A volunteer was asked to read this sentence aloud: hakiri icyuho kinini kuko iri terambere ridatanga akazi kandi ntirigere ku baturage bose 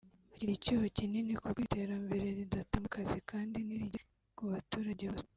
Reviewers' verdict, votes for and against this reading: rejected, 0, 2